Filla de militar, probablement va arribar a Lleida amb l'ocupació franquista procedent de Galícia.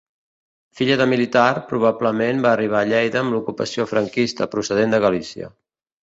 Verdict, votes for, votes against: accepted, 2, 0